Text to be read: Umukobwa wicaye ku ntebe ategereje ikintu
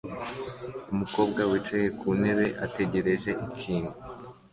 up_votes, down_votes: 2, 0